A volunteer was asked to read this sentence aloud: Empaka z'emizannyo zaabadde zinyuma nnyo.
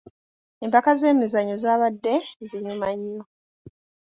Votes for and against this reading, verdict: 2, 0, accepted